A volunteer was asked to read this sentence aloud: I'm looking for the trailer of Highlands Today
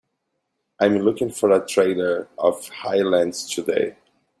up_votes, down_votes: 2, 0